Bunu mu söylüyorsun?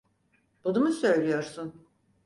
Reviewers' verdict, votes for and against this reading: accepted, 4, 0